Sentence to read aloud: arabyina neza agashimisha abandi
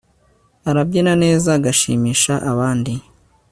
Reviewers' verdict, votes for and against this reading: accepted, 3, 0